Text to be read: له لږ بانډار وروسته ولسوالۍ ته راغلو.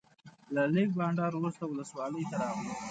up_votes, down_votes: 2, 0